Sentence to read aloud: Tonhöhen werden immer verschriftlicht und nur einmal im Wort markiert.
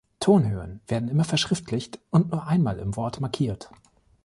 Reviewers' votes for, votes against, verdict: 3, 0, accepted